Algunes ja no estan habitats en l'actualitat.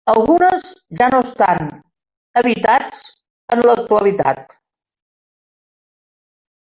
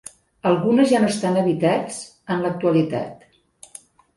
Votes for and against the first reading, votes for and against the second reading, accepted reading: 1, 2, 3, 0, second